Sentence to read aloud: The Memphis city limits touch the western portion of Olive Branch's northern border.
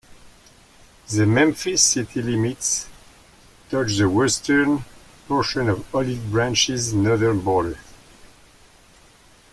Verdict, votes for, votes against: accepted, 2, 0